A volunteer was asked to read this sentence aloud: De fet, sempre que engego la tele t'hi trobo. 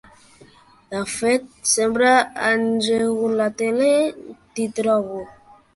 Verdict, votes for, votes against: rejected, 1, 2